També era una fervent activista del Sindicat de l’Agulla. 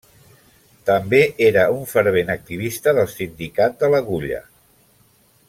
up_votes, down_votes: 2, 0